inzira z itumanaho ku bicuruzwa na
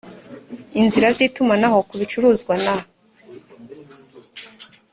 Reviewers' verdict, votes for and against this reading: accepted, 2, 0